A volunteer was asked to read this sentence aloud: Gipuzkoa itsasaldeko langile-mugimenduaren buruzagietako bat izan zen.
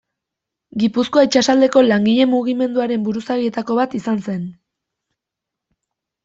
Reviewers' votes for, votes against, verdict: 2, 0, accepted